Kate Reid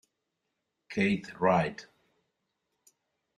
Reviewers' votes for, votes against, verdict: 2, 0, accepted